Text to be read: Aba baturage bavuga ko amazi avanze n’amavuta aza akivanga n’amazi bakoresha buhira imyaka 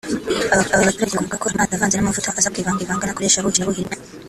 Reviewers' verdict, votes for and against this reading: rejected, 0, 4